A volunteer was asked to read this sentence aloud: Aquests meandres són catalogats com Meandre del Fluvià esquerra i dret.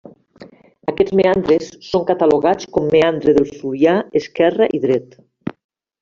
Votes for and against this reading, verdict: 0, 2, rejected